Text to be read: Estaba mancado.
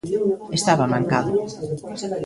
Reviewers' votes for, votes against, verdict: 0, 2, rejected